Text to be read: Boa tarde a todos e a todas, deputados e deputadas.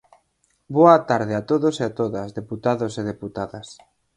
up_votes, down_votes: 4, 0